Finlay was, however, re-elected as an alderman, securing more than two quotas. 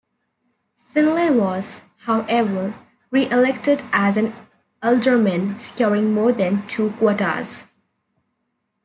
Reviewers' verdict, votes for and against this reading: rejected, 1, 2